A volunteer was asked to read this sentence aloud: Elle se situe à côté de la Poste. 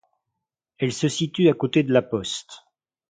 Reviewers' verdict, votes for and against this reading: accepted, 2, 0